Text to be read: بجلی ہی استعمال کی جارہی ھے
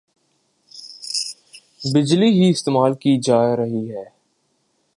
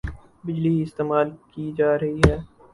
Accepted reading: first